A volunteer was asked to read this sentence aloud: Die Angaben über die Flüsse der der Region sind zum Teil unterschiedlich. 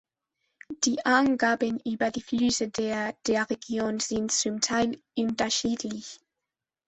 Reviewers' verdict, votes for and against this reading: rejected, 1, 2